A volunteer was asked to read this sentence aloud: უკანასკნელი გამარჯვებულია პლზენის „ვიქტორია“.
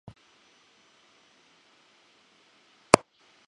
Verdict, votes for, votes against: rejected, 0, 2